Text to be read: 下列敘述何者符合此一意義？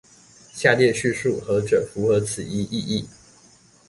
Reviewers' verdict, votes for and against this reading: accepted, 2, 0